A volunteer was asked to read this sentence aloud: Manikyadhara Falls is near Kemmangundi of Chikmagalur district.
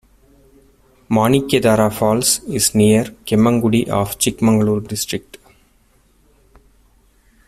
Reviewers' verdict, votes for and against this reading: rejected, 1, 2